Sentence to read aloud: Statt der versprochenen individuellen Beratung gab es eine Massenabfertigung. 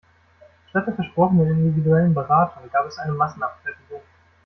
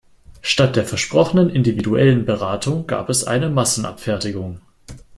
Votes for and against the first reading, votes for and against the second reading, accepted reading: 0, 2, 2, 0, second